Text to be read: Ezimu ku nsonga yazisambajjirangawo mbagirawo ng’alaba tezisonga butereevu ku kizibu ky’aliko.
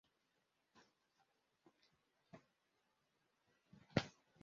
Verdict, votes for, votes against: rejected, 0, 2